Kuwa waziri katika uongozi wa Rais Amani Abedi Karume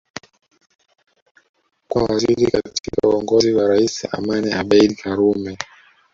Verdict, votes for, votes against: rejected, 1, 2